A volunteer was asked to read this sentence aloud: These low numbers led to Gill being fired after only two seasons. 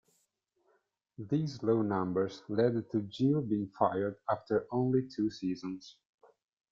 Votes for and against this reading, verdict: 1, 3, rejected